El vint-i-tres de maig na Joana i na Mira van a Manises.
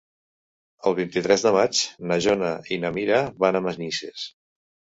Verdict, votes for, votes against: rejected, 0, 2